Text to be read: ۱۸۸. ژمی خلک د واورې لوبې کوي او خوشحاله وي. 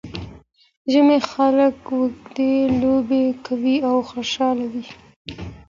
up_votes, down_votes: 0, 2